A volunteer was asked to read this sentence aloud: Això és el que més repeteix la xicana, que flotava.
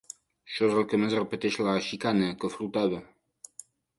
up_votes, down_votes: 2, 0